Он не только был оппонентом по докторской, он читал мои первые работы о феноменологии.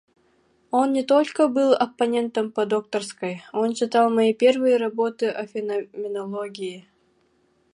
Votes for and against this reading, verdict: 0, 2, rejected